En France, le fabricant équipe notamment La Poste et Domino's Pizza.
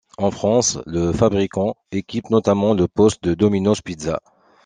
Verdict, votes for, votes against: rejected, 1, 2